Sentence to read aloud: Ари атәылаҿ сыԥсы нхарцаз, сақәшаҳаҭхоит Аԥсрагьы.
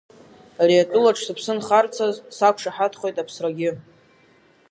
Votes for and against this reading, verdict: 5, 1, accepted